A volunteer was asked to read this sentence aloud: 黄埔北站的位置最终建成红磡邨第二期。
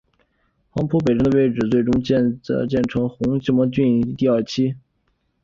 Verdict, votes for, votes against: rejected, 1, 2